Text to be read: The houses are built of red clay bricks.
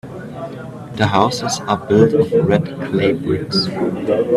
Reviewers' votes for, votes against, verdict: 2, 0, accepted